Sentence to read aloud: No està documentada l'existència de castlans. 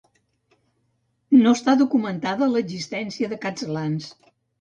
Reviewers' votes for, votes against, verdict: 1, 2, rejected